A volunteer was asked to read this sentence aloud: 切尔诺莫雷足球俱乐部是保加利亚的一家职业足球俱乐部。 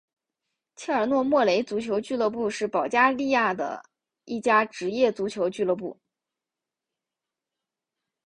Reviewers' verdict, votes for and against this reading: accepted, 7, 0